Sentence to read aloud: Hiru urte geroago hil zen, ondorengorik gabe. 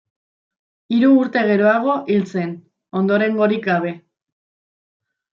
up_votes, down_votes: 2, 0